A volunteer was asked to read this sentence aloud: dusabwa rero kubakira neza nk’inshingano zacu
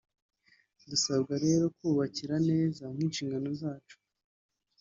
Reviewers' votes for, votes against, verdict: 4, 0, accepted